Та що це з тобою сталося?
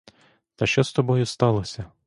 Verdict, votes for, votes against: rejected, 0, 2